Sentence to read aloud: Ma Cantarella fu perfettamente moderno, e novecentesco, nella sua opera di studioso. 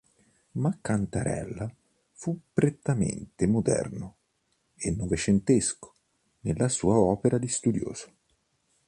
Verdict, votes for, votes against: rejected, 1, 2